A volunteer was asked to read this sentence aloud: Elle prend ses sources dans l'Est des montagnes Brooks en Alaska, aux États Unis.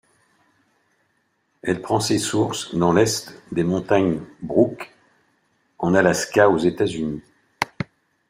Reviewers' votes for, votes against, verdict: 0, 2, rejected